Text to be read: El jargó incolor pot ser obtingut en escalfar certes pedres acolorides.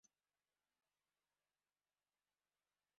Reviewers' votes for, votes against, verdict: 0, 2, rejected